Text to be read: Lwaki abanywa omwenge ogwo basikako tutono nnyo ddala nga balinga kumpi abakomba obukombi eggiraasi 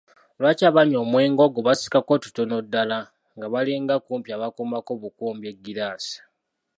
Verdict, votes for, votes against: accepted, 2, 1